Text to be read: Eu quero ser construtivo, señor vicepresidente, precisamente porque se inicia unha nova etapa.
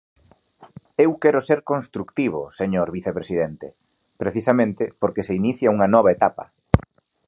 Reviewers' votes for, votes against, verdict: 0, 2, rejected